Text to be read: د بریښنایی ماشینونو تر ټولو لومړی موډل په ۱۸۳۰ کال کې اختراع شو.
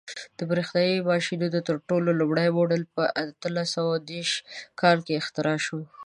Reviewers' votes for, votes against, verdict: 0, 2, rejected